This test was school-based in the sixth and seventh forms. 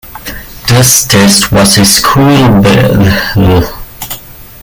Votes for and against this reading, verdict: 0, 2, rejected